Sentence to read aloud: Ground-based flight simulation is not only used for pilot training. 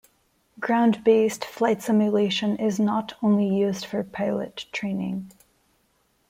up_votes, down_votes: 1, 2